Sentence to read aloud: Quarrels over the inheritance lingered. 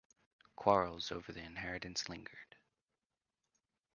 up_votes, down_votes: 2, 1